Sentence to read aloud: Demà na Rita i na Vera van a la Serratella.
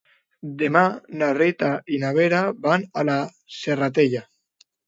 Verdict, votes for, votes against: accepted, 2, 0